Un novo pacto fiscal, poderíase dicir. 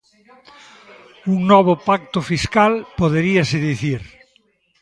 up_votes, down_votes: 1, 2